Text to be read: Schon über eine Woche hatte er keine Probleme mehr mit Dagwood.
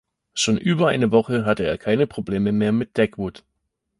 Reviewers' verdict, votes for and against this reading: accepted, 2, 0